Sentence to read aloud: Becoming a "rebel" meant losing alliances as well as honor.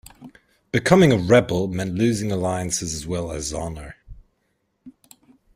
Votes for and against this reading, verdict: 2, 0, accepted